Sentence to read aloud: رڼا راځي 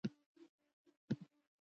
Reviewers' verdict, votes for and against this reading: rejected, 0, 2